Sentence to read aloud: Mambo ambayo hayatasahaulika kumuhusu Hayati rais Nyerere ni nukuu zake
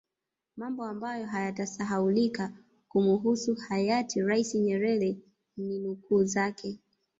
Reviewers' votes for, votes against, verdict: 1, 2, rejected